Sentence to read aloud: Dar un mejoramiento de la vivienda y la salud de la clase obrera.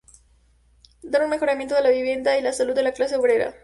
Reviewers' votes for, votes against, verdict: 2, 0, accepted